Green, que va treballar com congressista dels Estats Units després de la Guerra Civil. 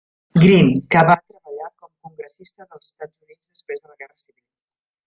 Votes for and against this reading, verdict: 0, 2, rejected